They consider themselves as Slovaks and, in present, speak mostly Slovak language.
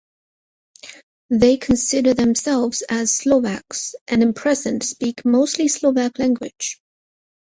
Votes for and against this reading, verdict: 0, 4, rejected